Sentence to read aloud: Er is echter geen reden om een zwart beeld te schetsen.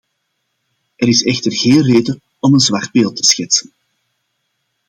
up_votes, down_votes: 2, 0